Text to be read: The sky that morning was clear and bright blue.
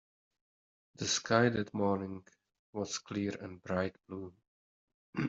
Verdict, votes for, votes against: accepted, 2, 0